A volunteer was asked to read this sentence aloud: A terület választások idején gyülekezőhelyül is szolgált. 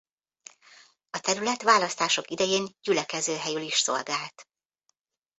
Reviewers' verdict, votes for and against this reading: rejected, 0, 2